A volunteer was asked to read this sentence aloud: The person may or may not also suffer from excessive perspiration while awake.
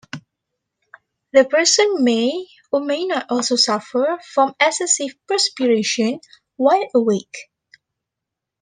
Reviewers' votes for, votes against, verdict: 2, 0, accepted